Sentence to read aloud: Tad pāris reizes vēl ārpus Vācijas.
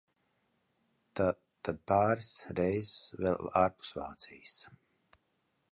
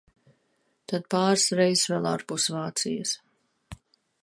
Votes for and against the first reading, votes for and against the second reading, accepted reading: 0, 2, 2, 0, second